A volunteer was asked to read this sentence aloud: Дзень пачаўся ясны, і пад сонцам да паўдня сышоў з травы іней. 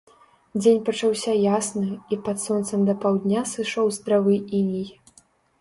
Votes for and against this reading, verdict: 2, 0, accepted